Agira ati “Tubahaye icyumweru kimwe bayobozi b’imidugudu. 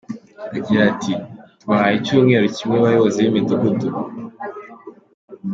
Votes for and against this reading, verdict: 2, 0, accepted